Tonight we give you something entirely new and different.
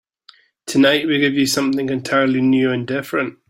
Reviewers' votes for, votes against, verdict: 3, 0, accepted